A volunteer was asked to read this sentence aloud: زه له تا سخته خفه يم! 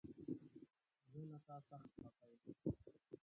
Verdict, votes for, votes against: rejected, 0, 2